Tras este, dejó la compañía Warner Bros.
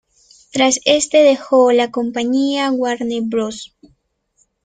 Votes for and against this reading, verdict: 2, 0, accepted